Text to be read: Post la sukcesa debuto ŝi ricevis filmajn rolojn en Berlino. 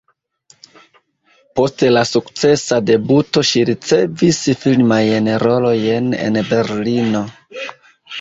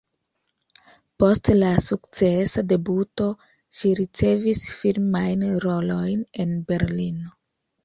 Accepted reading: second